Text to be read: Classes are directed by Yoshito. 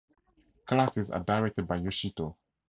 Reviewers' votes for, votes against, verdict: 2, 2, rejected